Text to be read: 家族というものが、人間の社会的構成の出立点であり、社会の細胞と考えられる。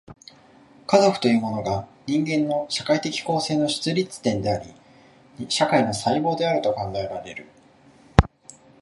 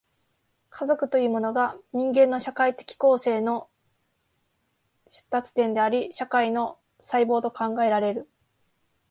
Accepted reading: first